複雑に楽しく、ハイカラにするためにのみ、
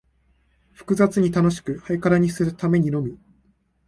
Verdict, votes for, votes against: accepted, 2, 0